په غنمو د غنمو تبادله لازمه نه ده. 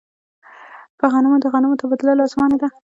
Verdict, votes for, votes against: rejected, 0, 2